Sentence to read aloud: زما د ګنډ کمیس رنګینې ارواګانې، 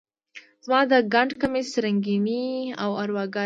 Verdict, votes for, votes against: rejected, 1, 2